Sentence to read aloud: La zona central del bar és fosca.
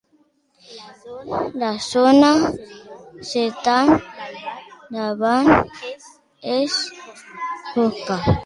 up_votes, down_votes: 0, 2